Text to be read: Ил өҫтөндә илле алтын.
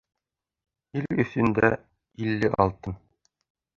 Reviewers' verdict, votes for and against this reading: rejected, 1, 3